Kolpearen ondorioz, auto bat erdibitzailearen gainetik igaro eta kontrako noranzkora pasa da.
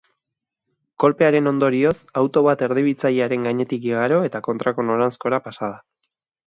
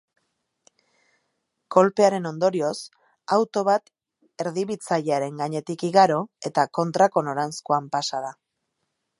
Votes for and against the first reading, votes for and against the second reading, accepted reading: 2, 0, 1, 2, first